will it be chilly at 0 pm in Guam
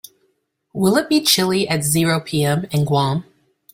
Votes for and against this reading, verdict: 0, 2, rejected